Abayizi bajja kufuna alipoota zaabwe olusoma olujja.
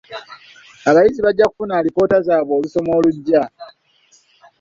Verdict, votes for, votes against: accepted, 2, 0